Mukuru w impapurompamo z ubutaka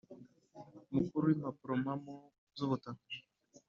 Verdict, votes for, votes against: accepted, 2, 0